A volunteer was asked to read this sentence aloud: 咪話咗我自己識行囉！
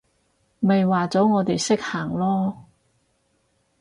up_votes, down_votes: 0, 4